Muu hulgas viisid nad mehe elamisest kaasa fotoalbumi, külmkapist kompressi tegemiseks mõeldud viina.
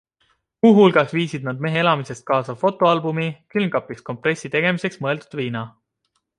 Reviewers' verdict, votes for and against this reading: accepted, 2, 0